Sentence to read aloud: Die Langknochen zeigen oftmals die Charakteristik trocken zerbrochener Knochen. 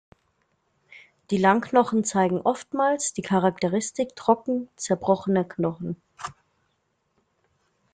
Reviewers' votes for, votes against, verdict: 2, 0, accepted